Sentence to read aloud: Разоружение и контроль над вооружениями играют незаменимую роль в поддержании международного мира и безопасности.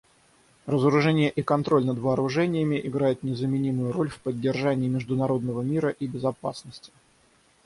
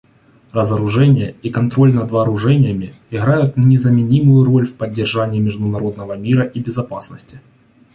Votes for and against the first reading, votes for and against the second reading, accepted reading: 3, 3, 2, 0, second